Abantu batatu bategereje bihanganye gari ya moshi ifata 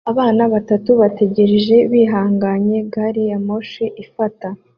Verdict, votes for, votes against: rejected, 0, 2